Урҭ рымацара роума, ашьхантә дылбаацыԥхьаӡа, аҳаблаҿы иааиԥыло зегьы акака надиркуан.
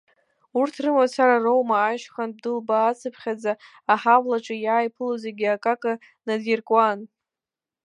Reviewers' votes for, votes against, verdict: 2, 1, accepted